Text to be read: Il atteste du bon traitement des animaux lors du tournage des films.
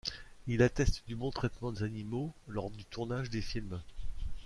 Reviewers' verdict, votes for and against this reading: accepted, 2, 1